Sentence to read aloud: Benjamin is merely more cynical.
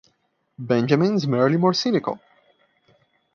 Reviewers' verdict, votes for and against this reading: rejected, 1, 2